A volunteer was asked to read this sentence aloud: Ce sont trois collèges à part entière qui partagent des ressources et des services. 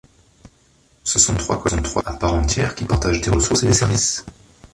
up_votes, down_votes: 0, 3